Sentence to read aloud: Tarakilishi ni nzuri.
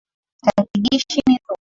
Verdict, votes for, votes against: rejected, 1, 4